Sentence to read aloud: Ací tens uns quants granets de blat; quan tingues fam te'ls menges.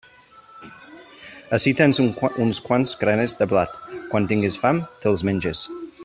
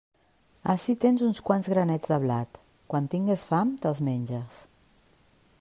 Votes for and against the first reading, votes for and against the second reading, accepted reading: 0, 2, 3, 0, second